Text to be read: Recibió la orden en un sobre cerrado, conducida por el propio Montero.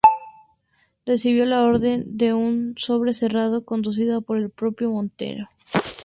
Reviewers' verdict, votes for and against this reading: rejected, 2, 2